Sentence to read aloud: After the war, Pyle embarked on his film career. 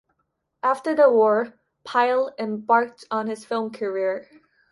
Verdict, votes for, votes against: accepted, 2, 0